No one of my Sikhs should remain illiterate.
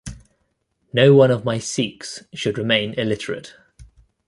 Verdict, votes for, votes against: accepted, 2, 0